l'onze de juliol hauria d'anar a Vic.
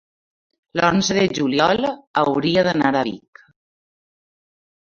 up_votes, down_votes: 1, 2